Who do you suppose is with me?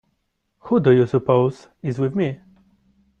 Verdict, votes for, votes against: accepted, 2, 1